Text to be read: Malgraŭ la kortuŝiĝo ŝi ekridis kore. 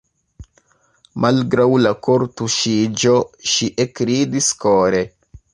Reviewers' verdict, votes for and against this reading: rejected, 1, 2